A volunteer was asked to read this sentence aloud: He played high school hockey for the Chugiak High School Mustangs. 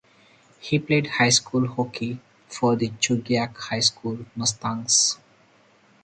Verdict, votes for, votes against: rejected, 2, 2